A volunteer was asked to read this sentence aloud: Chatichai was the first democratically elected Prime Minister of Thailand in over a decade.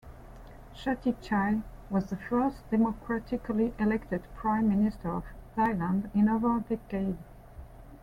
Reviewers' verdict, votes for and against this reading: rejected, 1, 2